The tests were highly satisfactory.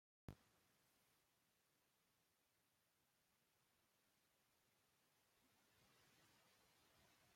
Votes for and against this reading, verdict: 0, 2, rejected